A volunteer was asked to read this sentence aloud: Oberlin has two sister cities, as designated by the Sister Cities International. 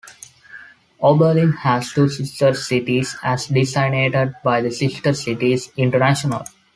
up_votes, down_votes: 2, 1